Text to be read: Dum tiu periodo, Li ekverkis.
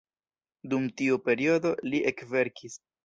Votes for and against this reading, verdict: 2, 0, accepted